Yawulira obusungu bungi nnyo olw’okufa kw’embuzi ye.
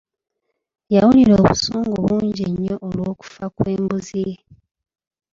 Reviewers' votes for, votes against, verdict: 2, 1, accepted